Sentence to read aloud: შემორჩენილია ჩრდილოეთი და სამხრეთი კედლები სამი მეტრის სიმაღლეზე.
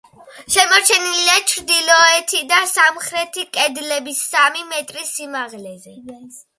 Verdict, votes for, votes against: accepted, 2, 0